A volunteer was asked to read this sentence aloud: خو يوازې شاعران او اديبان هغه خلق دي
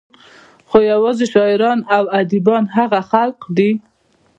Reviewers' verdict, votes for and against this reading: rejected, 0, 2